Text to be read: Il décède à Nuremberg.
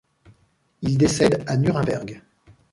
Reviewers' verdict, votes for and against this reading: accepted, 2, 0